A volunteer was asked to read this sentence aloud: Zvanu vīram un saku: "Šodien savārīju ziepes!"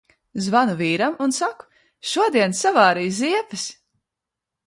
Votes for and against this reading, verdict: 2, 0, accepted